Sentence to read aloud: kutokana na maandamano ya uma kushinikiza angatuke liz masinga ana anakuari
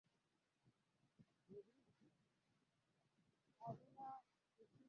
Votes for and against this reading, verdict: 0, 2, rejected